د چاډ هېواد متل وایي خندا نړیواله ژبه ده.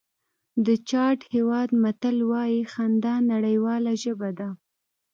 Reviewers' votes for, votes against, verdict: 2, 0, accepted